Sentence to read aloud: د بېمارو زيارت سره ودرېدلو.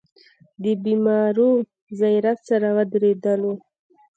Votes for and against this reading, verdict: 2, 0, accepted